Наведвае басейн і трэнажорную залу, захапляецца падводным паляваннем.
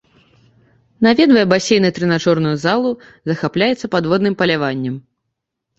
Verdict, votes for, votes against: accepted, 2, 0